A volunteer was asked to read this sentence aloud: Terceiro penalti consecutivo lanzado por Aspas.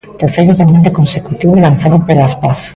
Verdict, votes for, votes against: rejected, 0, 2